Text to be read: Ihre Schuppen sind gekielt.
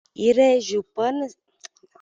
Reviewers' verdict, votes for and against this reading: rejected, 0, 2